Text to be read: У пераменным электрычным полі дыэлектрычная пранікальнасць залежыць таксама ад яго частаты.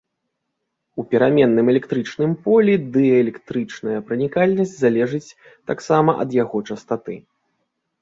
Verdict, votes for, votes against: accepted, 2, 0